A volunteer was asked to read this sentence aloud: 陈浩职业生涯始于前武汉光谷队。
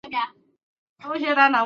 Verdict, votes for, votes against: rejected, 0, 4